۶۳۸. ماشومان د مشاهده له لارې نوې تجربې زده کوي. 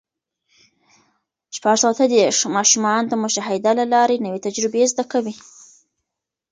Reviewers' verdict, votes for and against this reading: rejected, 0, 2